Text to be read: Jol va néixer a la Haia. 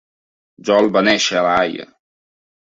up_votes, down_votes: 2, 0